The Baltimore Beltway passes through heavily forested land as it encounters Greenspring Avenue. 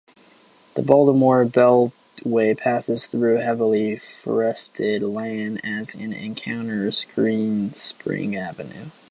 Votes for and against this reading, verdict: 2, 0, accepted